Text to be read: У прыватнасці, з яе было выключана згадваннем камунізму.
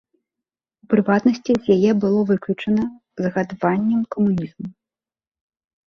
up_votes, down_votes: 1, 2